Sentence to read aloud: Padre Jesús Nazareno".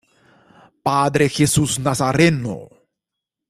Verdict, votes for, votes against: rejected, 0, 2